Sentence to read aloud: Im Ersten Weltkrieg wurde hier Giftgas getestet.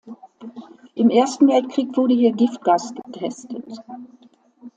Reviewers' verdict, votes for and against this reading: accepted, 2, 0